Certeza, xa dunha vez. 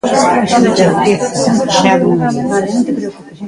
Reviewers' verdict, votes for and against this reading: rejected, 0, 2